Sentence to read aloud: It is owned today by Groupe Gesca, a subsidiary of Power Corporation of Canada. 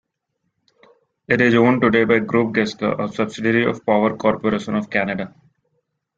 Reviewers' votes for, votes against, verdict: 2, 1, accepted